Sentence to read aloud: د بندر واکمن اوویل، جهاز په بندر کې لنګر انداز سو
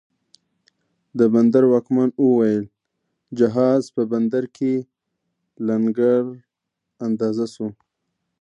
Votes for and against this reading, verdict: 1, 2, rejected